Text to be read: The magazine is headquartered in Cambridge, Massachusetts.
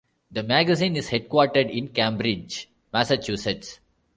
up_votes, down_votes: 2, 0